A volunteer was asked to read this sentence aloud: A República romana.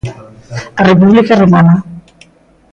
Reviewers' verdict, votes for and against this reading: rejected, 0, 2